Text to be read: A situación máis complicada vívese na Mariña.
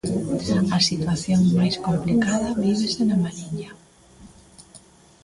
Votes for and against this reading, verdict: 3, 0, accepted